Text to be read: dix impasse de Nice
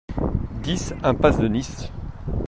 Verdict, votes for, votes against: accepted, 2, 1